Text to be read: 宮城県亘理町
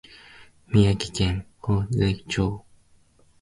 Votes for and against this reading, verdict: 0, 2, rejected